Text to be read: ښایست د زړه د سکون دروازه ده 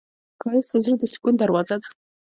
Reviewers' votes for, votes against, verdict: 1, 2, rejected